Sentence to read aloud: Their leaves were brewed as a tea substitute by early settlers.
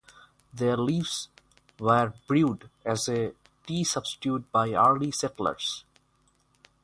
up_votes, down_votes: 3, 3